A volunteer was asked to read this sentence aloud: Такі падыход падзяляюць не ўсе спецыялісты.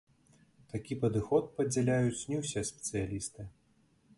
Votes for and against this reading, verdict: 2, 0, accepted